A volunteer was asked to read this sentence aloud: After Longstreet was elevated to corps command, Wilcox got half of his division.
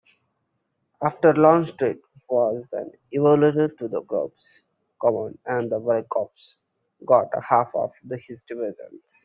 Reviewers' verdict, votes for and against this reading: rejected, 0, 2